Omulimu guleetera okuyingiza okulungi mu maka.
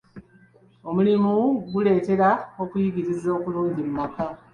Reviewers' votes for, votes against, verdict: 2, 3, rejected